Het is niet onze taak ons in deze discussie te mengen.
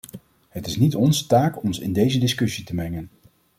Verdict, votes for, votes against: accepted, 2, 0